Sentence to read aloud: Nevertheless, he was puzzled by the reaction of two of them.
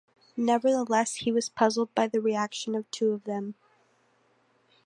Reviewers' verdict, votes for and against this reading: accepted, 2, 0